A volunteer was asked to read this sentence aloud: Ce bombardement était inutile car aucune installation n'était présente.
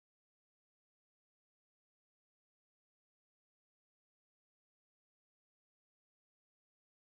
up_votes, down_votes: 0, 2